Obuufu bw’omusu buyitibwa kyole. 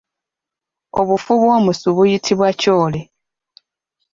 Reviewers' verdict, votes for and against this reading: rejected, 0, 2